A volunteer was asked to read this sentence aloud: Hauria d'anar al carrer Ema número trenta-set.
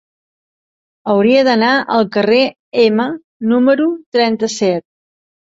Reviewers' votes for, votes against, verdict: 3, 0, accepted